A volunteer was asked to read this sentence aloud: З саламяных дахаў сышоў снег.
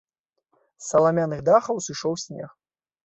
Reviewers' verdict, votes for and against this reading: accepted, 2, 0